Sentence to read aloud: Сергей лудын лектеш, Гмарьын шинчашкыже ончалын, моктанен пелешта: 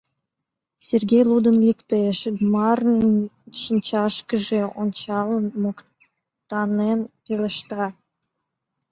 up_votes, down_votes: 0, 2